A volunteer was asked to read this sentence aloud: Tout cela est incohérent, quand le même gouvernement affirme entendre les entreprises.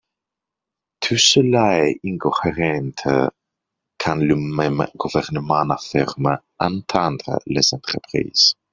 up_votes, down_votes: 0, 4